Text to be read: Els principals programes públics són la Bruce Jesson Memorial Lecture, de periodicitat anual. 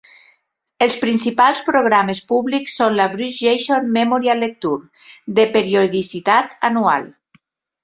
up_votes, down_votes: 2, 0